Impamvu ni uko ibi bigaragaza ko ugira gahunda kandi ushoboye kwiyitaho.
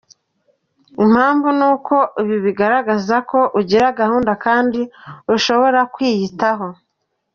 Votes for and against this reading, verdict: 1, 2, rejected